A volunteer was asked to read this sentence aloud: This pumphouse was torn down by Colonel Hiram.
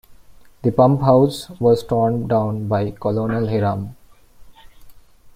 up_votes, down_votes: 1, 2